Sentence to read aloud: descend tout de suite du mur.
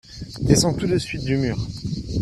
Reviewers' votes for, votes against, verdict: 2, 0, accepted